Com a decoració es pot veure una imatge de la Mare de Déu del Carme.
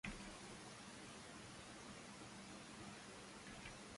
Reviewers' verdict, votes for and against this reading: rejected, 0, 2